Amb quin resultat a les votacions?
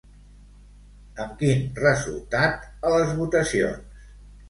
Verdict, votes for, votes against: accepted, 2, 1